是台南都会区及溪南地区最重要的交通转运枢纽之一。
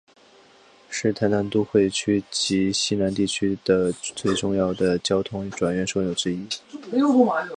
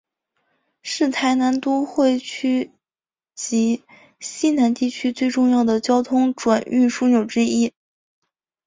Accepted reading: second